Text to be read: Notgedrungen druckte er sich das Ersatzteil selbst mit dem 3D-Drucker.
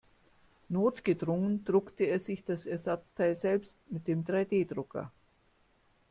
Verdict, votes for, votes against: rejected, 0, 2